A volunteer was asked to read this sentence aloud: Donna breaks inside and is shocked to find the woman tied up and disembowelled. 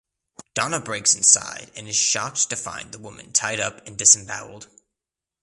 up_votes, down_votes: 2, 0